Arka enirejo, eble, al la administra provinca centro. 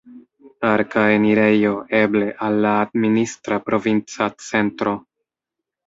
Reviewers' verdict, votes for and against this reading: rejected, 1, 2